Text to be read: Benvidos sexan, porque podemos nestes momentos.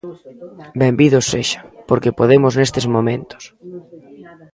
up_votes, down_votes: 0, 2